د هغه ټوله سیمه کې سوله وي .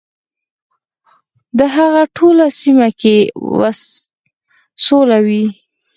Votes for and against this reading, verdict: 4, 0, accepted